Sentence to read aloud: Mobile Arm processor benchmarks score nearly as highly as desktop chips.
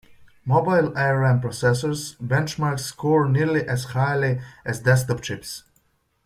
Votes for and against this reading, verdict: 0, 2, rejected